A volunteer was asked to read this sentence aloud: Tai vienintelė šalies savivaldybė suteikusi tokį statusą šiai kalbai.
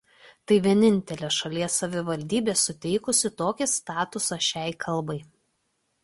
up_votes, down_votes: 2, 0